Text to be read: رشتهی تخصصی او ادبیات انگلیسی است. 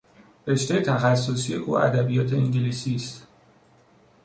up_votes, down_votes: 2, 0